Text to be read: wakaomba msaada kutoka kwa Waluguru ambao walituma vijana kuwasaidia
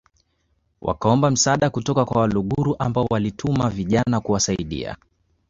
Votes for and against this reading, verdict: 0, 2, rejected